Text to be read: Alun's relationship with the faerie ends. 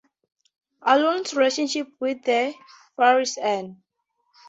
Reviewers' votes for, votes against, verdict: 0, 2, rejected